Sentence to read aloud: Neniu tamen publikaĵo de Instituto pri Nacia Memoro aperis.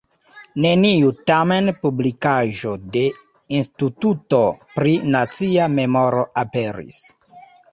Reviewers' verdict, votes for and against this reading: rejected, 0, 2